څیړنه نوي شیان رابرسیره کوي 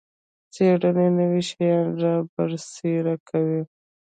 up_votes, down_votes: 1, 2